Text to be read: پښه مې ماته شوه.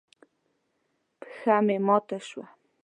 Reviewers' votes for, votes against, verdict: 7, 0, accepted